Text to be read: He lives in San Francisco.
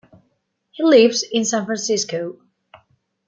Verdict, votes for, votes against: rejected, 0, 2